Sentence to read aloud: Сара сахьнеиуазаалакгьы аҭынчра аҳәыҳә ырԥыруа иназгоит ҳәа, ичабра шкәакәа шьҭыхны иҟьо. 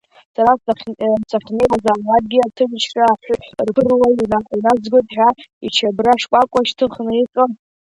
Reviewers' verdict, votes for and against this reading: rejected, 0, 2